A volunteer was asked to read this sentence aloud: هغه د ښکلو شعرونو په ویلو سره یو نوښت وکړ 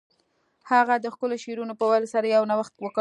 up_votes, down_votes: 2, 0